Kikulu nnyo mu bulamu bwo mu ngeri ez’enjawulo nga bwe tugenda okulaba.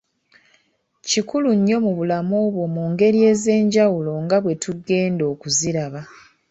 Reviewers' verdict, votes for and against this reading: rejected, 1, 2